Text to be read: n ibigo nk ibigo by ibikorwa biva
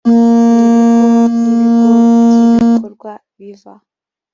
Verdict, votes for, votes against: rejected, 0, 2